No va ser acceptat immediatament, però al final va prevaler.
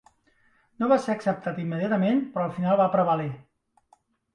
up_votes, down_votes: 1, 2